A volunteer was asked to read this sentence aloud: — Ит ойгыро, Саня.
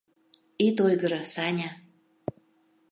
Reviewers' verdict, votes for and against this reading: accepted, 2, 0